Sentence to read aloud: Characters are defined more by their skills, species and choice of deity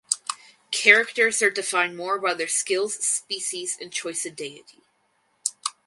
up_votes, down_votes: 4, 0